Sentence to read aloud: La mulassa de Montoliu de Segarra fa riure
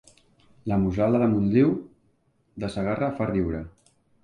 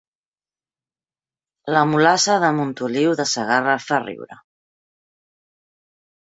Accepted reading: second